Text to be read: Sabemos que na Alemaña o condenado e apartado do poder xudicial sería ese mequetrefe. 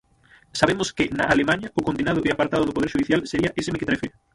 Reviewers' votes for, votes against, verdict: 0, 6, rejected